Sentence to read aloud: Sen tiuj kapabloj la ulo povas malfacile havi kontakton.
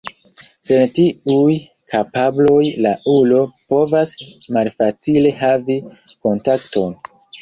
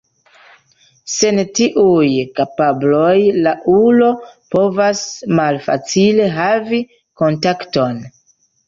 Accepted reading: second